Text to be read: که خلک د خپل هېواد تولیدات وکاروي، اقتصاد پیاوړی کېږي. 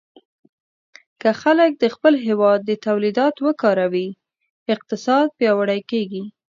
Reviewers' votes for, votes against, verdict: 1, 2, rejected